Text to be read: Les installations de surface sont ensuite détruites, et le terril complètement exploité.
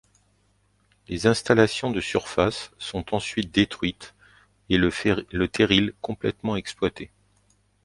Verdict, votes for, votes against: rejected, 0, 2